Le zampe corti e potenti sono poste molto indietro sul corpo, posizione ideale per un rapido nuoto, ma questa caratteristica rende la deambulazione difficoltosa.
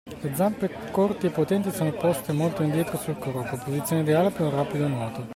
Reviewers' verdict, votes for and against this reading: rejected, 1, 2